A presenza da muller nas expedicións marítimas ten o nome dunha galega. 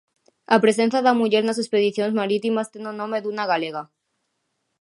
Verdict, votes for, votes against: accepted, 2, 0